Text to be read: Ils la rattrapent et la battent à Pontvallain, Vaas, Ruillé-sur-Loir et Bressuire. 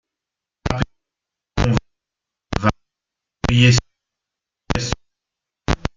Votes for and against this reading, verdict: 0, 2, rejected